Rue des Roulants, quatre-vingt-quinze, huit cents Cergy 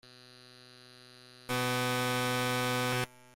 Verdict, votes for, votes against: rejected, 0, 2